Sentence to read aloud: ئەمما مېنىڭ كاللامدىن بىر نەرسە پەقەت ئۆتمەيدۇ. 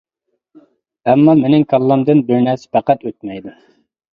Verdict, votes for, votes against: accepted, 2, 0